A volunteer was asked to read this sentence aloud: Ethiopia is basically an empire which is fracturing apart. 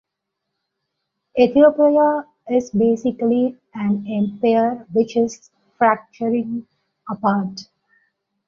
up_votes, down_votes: 2, 0